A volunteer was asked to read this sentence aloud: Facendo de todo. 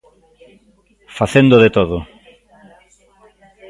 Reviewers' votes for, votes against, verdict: 2, 1, accepted